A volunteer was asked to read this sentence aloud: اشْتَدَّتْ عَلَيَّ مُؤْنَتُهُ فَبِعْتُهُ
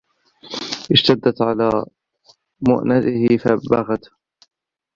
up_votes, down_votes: 1, 2